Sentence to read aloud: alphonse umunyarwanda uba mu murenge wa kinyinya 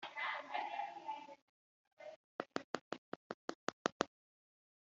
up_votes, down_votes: 1, 2